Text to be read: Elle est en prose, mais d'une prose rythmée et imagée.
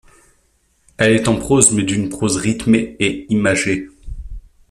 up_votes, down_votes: 2, 0